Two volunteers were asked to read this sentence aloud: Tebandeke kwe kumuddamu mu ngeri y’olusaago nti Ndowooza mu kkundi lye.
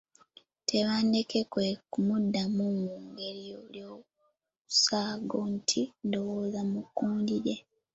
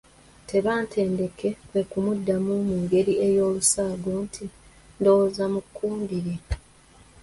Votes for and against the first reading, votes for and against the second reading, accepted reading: 2, 1, 0, 2, first